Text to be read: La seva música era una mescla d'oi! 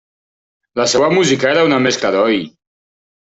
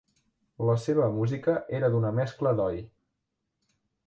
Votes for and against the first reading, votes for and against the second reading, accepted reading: 3, 0, 1, 2, first